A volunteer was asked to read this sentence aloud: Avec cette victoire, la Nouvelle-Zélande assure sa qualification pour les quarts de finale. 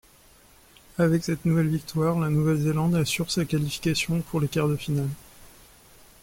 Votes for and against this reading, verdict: 0, 2, rejected